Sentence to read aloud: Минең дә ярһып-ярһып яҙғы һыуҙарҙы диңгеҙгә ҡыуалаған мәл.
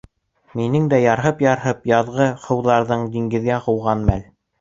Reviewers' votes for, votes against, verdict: 0, 2, rejected